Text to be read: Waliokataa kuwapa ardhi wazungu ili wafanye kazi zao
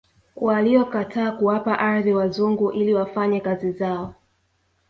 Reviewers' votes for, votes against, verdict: 2, 0, accepted